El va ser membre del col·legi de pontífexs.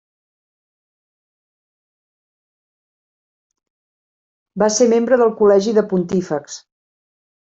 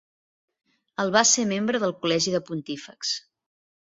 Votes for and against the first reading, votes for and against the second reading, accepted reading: 1, 2, 2, 0, second